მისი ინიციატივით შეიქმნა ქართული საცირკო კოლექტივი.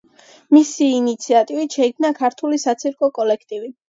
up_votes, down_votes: 2, 0